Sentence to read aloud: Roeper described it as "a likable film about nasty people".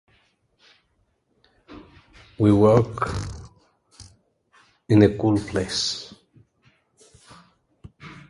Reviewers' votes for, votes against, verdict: 0, 2, rejected